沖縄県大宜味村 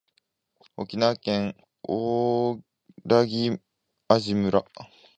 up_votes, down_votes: 0, 2